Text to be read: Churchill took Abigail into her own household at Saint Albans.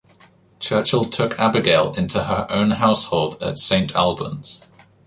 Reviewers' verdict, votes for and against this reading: accepted, 2, 0